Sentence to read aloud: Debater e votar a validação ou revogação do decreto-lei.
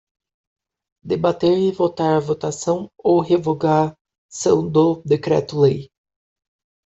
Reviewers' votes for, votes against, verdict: 0, 2, rejected